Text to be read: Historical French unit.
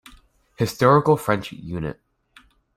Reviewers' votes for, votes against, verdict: 2, 0, accepted